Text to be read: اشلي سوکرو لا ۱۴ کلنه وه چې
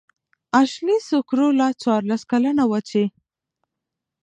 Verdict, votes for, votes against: rejected, 0, 2